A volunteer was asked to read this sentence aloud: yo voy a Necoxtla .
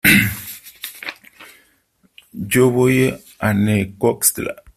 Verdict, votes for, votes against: accepted, 2, 1